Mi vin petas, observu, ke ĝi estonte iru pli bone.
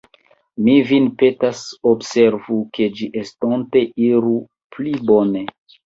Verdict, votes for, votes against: rejected, 0, 2